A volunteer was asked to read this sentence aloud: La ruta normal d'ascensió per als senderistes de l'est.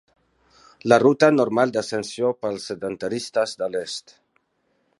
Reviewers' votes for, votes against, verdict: 1, 2, rejected